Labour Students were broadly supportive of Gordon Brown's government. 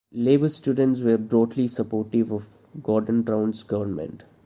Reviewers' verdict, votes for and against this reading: accepted, 2, 0